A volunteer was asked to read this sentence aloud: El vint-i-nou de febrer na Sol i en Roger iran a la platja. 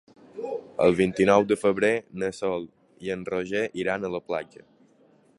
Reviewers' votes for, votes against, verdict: 4, 0, accepted